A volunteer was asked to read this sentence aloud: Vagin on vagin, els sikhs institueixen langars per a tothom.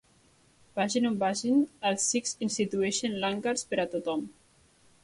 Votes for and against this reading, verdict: 3, 0, accepted